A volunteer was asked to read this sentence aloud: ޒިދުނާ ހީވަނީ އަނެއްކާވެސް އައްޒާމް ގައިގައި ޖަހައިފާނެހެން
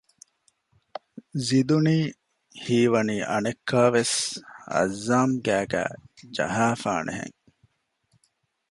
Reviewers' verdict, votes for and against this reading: rejected, 0, 2